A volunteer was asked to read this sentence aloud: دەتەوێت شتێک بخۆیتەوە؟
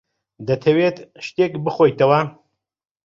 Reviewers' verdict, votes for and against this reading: accepted, 2, 0